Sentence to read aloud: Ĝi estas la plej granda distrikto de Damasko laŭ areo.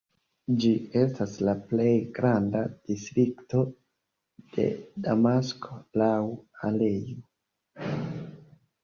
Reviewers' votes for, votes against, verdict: 0, 2, rejected